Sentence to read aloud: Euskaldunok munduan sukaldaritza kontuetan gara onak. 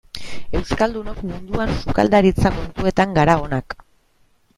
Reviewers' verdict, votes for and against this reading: rejected, 1, 2